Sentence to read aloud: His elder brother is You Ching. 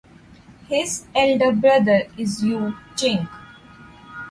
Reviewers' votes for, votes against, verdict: 2, 0, accepted